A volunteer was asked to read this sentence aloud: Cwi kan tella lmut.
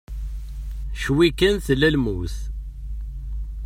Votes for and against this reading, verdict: 2, 0, accepted